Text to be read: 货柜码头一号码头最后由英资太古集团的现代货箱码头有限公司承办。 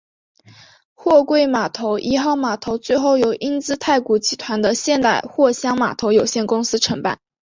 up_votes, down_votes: 0, 2